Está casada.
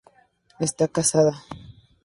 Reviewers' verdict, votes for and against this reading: accepted, 2, 0